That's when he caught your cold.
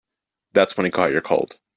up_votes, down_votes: 2, 0